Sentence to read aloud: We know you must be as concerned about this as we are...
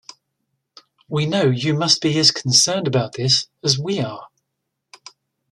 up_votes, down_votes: 2, 0